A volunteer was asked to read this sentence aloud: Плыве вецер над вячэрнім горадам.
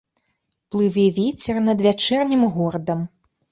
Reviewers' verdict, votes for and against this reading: accepted, 2, 1